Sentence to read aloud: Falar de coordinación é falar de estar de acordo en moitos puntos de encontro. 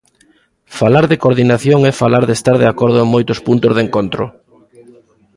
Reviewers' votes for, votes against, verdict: 0, 2, rejected